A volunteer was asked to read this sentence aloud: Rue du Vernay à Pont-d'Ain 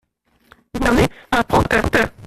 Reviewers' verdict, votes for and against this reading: rejected, 0, 2